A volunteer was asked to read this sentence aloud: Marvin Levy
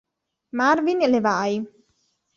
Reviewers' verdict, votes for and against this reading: rejected, 1, 2